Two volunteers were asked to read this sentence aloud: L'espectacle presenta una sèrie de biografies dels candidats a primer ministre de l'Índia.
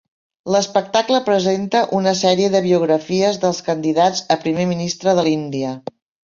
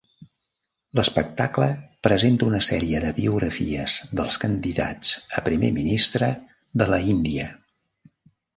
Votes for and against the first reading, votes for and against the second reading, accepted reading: 4, 0, 1, 2, first